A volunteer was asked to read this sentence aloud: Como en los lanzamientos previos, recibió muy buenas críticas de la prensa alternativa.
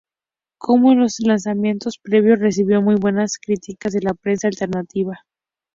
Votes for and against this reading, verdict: 2, 0, accepted